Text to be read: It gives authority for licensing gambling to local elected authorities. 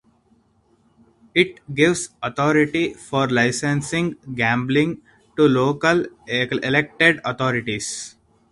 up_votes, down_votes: 0, 2